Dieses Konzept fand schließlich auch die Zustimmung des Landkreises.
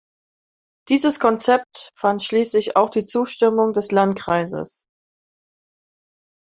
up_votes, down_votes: 2, 0